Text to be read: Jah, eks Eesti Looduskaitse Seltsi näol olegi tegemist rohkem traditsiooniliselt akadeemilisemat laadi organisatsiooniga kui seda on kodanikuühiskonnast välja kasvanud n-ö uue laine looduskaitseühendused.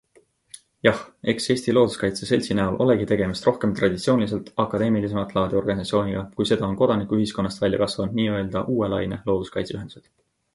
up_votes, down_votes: 2, 0